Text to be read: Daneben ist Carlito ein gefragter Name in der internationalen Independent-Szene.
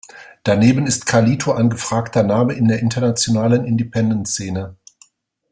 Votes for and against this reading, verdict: 2, 0, accepted